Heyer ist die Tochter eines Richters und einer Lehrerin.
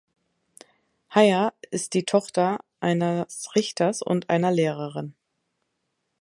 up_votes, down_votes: 1, 2